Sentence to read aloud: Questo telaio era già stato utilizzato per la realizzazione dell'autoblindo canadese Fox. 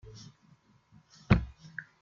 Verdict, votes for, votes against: rejected, 0, 2